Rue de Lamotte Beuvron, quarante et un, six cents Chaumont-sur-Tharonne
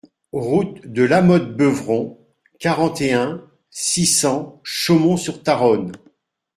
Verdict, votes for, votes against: rejected, 0, 2